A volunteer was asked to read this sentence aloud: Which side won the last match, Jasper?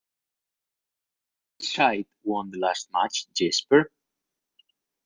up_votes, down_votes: 0, 2